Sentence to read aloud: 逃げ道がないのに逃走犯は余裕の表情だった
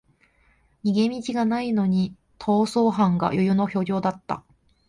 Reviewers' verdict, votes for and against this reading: rejected, 1, 2